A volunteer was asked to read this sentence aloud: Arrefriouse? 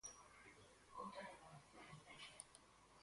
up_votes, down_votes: 0, 4